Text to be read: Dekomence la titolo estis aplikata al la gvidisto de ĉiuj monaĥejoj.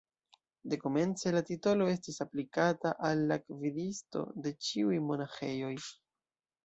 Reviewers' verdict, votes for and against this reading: accepted, 2, 0